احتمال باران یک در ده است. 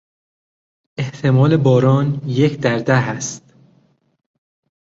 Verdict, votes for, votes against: accepted, 2, 0